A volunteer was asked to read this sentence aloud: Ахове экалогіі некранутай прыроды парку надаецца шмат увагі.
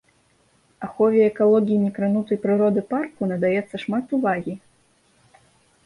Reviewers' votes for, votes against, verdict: 2, 0, accepted